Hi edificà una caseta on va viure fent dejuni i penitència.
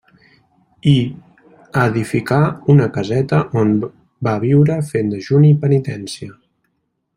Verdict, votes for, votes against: rejected, 1, 2